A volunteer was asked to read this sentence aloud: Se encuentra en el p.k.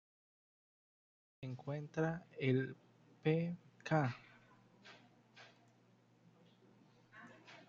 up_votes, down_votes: 0, 2